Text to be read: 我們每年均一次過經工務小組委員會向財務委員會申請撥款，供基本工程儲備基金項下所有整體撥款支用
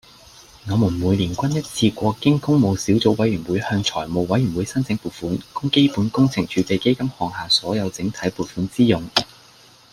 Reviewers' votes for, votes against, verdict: 2, 0, accepted